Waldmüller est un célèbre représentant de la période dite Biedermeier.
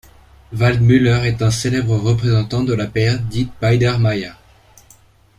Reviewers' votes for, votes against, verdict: 0, 2, rejected